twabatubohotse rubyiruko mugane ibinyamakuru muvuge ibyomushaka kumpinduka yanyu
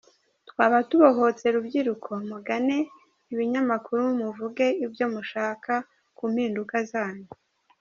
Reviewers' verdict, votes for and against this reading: rejected, 2, 3